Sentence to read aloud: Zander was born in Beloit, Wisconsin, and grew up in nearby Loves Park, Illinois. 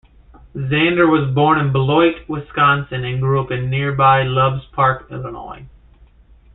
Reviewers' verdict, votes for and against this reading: accepted, 2, 0